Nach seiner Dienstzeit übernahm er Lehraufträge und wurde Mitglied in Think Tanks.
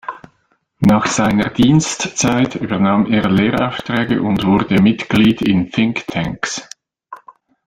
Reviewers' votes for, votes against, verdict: 1, 2, rejected